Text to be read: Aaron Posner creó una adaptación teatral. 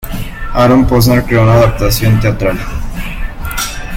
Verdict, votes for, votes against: rejected, 1, 2